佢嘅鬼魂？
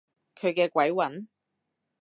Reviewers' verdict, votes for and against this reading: accepted, 2, 0